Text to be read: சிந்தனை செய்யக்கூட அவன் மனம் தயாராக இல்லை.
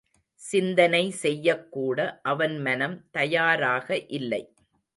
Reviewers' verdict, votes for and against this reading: accepted, 2, 0